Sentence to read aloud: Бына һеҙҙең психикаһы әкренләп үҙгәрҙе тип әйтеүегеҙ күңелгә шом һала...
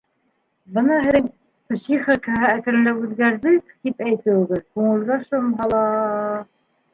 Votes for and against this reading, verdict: 1, 2, rejected